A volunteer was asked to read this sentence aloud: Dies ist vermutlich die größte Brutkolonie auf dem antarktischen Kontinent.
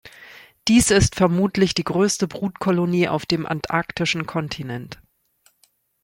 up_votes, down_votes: 2, 0